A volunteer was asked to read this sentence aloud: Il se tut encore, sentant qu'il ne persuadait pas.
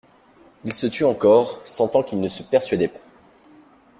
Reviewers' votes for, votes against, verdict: 0, 2, rejected